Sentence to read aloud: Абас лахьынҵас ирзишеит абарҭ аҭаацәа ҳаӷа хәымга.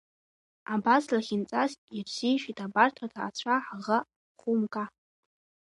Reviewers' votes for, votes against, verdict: 3, 1, accepted